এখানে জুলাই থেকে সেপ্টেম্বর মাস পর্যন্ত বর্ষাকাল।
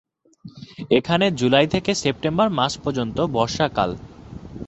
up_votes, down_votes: 2, 0